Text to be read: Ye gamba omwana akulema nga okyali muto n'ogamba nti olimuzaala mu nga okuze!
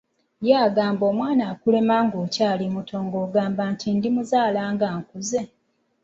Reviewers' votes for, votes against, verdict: 0, 2, rejected